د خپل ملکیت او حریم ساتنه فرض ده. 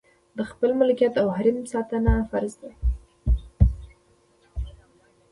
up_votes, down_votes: 2, 0